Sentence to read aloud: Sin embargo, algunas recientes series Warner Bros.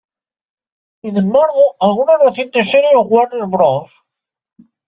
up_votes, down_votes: 0, 2